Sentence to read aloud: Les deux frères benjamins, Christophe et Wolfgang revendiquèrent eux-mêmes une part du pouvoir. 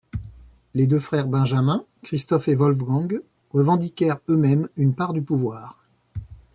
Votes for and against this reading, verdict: 2, 0, accepted